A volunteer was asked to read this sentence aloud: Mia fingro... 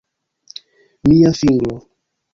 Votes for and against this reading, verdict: 1, 2, rejected